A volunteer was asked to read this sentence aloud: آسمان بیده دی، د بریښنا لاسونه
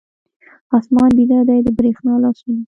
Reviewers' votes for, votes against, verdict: 1, 2, rejected